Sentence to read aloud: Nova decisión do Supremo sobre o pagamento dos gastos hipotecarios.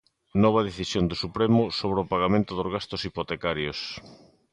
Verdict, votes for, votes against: accepted, 2, 0